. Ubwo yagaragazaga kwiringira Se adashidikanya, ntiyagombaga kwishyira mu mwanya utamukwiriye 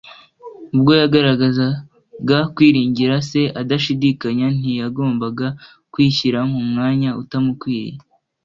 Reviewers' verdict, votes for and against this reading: accepted, 2, 0